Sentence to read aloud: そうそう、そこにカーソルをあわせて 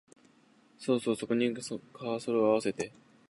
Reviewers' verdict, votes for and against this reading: rejected, 0, 2